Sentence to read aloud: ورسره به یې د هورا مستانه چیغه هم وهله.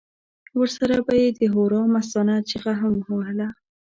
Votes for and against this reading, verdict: 2, 0, accepted